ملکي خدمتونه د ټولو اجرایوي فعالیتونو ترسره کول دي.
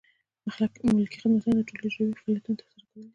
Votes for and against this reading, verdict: 1, 2, rejected